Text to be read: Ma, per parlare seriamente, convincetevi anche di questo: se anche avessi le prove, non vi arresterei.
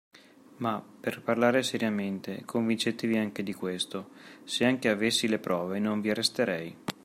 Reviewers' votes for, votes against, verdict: 2, 0, accepted